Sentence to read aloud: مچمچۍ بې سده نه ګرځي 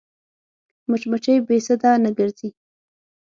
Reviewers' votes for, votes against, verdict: 6, 0, accepted